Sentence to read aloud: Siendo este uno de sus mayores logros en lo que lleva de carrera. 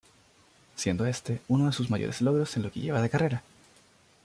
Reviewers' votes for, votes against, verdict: 2, 0, accepted